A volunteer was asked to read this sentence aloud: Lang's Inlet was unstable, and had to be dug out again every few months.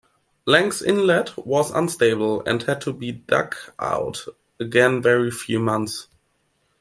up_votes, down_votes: 2, 0